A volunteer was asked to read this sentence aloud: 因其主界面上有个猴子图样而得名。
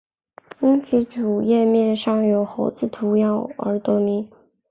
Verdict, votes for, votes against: accepted, 2, 0